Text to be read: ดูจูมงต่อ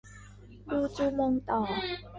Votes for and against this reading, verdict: 0, 2, rejected